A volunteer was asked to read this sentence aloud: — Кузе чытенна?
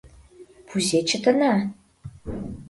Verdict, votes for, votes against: rejected, 2, 3